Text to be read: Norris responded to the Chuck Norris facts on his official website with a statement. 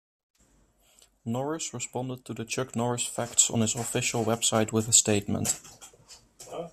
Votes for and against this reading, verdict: 0, 2, rejected